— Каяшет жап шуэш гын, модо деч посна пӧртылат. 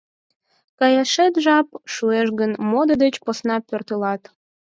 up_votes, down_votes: 4, 0